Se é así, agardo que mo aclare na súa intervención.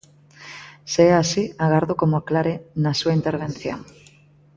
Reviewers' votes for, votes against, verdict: 2, 1, accepted